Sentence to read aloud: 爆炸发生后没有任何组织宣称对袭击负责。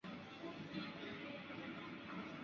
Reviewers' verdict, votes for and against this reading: rejected, 0, 2